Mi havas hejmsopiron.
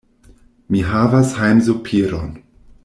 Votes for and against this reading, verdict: 1, 2, rejected